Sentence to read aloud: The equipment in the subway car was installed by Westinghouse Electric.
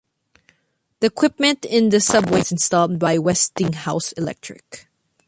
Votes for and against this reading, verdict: 1, 2, rejected